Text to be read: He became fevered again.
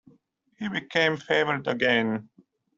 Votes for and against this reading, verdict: 0, 2, rejected